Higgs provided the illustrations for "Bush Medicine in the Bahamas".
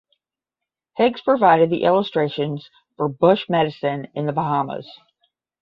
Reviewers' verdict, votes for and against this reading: rejected, 5, 5